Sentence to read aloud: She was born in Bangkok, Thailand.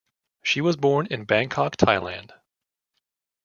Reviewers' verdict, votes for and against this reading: accepted, 2, 0